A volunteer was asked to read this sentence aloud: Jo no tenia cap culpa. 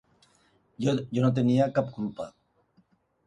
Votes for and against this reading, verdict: 2, 0, accepted